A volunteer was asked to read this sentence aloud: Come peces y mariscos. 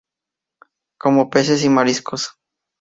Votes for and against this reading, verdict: 0, 2, rejected